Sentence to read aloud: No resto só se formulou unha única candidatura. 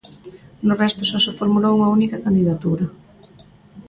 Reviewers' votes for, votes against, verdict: 2, 0, accepted